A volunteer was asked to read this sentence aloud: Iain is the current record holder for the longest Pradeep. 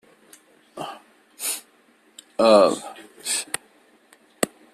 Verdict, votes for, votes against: rejected, 0, 2